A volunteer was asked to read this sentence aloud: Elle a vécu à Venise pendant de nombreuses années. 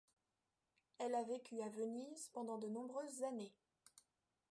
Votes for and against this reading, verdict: 2, 0, accepted